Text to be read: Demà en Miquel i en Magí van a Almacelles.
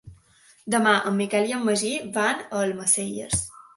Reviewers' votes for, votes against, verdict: 2, 0, accepted